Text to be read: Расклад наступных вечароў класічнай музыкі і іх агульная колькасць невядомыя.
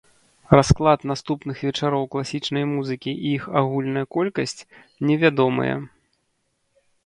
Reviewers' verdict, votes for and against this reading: accepted, 2, 0